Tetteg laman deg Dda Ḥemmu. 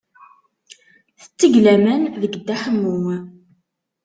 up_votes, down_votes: 2, 0